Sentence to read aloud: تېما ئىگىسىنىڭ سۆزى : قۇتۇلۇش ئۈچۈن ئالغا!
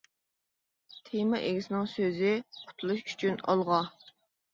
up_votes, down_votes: 2, 0